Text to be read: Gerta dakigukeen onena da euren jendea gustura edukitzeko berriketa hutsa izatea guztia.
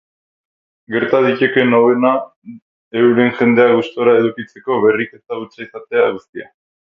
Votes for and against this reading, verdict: 0, 6, rejected